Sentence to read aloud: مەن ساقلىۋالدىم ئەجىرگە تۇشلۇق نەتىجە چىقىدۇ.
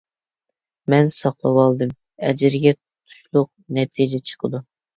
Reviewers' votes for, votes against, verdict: 1, 2, rejected